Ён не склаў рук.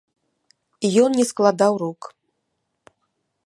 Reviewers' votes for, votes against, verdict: 0, 2, rejected